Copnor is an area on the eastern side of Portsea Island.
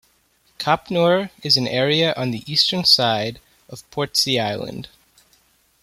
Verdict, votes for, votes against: accepted, 2, 0